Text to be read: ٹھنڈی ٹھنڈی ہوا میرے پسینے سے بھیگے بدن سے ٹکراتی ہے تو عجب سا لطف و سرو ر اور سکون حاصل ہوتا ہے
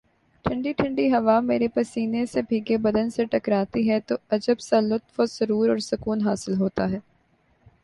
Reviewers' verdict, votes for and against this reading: accepted, 5, 1